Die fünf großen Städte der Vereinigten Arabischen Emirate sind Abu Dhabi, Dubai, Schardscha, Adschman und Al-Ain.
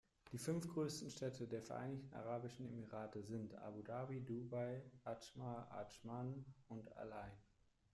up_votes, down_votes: 0, 2